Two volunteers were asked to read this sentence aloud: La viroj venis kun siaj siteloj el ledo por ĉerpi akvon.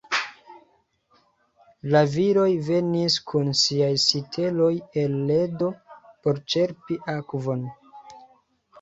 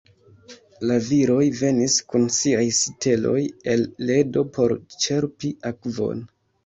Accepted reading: first